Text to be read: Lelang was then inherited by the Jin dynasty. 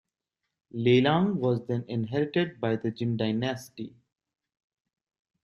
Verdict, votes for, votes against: accepted, 2, 0